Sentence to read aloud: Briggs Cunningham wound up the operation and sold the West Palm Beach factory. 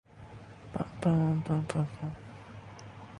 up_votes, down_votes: 0, 2